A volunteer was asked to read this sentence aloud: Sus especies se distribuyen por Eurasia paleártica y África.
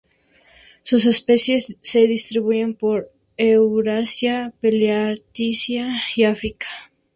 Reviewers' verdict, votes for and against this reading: rejected, 0, 2